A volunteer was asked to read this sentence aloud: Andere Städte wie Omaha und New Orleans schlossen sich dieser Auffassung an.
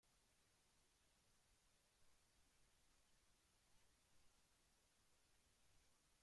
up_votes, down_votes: 0, 2